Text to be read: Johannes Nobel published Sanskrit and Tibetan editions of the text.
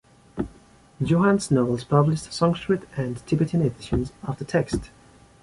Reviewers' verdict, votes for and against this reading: accepted, 2, 1